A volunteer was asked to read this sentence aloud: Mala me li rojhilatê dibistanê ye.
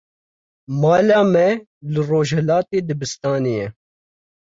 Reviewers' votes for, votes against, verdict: 2, 0, accepted